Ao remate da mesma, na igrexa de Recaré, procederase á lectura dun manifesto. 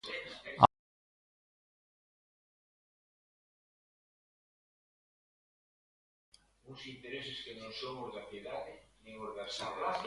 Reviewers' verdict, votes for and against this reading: rejected, 0, 2